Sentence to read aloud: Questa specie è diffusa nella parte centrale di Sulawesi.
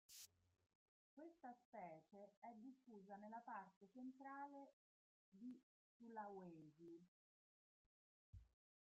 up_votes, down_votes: 0, 2